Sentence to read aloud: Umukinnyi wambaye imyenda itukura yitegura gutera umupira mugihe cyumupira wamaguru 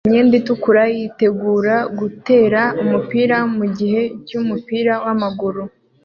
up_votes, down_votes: 2, 1